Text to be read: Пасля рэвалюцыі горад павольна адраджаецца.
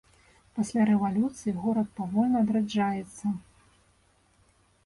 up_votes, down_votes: 2, 0